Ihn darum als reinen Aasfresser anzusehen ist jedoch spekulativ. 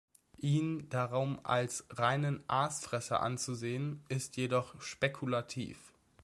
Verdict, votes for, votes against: accepted, 2, 0